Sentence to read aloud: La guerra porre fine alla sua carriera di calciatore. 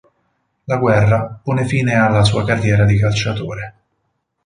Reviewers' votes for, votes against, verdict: 2, 4, rejected